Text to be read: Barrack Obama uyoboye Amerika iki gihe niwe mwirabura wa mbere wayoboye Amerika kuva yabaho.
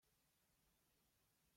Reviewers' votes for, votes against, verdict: 0, 2, rejected